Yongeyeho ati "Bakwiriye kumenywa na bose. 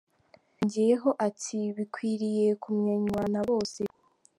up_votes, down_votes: 0, 2